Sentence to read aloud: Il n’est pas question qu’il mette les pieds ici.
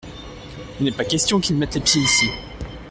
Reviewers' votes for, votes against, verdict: 2, 0, accepted